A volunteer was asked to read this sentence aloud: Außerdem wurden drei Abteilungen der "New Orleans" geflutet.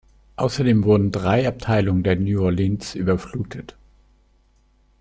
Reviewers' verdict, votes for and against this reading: rejected, 1, 2